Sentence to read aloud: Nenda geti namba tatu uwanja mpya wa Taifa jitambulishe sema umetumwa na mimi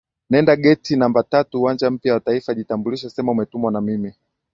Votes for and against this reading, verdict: 2, 0, accepted